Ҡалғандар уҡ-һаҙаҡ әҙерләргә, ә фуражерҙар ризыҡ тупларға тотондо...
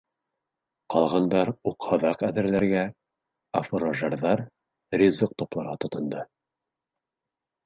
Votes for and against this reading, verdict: 2, 0, accepted